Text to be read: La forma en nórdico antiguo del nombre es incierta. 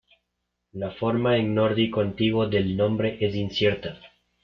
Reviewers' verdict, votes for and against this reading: accepted, 2, 0